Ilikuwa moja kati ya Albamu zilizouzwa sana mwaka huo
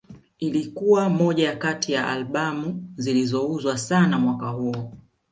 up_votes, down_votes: 2, 0